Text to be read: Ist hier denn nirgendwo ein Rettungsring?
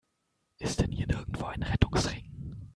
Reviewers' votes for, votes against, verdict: 2, 0, accepted